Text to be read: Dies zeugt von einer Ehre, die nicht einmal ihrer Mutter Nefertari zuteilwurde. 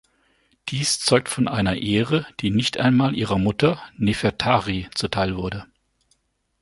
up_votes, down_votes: 2, 0